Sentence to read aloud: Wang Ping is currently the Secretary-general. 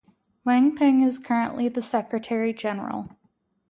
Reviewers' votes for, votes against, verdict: 4, 0, accepted